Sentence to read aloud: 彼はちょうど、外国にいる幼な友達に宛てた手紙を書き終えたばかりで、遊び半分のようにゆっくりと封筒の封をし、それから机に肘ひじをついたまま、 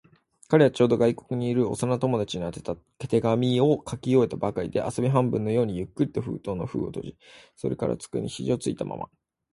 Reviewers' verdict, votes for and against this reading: accepted, 2, 0